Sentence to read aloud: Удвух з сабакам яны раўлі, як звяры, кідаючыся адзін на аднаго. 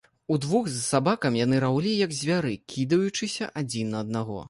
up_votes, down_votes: 2, 0